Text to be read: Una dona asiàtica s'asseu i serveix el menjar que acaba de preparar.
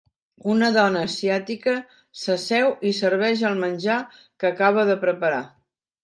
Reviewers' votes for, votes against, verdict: 2, 0, accepted